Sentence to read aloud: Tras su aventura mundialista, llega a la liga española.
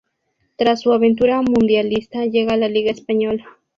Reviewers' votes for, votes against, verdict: 4, 0, accepted